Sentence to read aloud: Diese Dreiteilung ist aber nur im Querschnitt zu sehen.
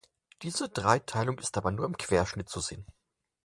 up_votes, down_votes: 6, 0